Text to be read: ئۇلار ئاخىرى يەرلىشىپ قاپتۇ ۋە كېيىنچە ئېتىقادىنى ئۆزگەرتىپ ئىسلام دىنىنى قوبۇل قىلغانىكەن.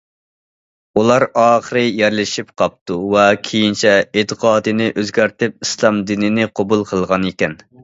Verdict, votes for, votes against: accepted, 2, 1